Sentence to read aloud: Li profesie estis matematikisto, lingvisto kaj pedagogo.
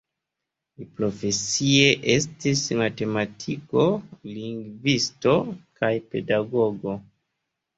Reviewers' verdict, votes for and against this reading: rejected, 0, 2